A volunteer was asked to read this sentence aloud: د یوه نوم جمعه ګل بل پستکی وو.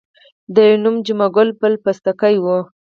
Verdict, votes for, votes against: rejected, 2, 4